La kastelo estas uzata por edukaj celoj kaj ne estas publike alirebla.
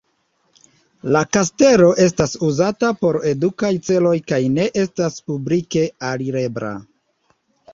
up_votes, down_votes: 2, 0